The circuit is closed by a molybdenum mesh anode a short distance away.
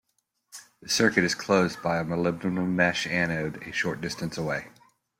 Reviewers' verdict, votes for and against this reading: accepted, 2, 0